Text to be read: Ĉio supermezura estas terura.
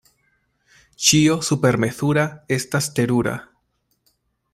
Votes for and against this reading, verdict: 2, 0, accepted